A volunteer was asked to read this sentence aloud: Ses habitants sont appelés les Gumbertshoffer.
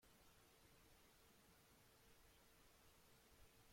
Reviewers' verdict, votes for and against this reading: rejected, 0, 2